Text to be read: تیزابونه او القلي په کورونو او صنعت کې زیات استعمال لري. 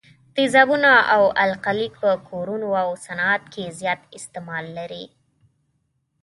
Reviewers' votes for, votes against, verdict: 2, 0, accepted